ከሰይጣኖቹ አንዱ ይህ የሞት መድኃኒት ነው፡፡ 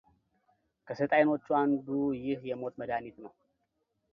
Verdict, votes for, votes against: accepted, 2, 0